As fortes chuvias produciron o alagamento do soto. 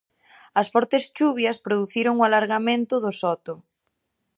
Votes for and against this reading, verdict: 0, 2, rejected